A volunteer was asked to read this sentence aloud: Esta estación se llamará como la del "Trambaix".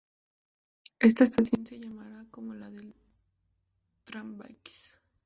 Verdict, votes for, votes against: rejected, 0, 2